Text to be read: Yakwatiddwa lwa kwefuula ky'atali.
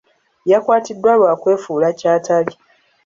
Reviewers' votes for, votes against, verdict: 3, 0, accepted